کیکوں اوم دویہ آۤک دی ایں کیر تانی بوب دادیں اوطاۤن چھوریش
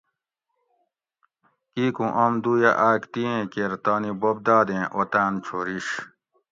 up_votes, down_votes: 2, 0